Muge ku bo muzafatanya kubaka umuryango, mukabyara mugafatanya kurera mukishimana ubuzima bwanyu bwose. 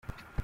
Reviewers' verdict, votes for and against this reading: rejected, 0, 2